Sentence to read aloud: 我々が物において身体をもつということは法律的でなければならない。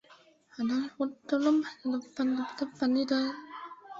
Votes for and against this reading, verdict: 0, 2, rejected